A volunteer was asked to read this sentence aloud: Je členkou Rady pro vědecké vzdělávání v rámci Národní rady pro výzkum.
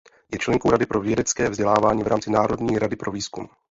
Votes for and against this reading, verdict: 1, 2, rejected